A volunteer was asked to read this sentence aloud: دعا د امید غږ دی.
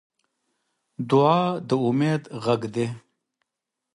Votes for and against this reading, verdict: 2, 0, accepted